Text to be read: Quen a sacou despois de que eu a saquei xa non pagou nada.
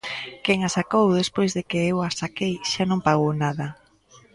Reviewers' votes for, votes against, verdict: 2, 0, accepted